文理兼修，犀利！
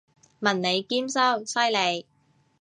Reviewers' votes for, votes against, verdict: 2, 0, accepted